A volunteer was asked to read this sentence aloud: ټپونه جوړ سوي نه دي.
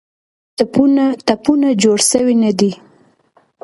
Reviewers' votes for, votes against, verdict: 0, 2, rejected